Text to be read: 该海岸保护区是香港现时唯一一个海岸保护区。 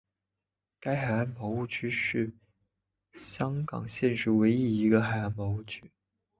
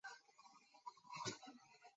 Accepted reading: first